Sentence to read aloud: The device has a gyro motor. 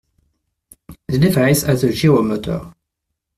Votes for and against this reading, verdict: 1, 2, rejected